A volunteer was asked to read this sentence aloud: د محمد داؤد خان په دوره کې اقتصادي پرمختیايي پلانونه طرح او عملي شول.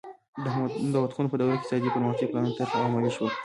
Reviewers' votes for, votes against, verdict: 1, 2, rejected